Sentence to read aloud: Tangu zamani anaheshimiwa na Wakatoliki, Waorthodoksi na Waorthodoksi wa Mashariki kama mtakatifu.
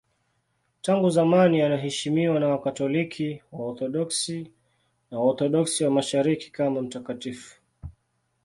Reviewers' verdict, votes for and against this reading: accepted, 2, 0